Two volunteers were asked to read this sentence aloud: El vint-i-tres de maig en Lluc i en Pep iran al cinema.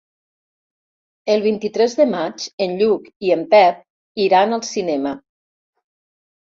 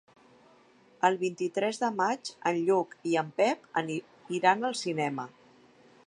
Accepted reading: first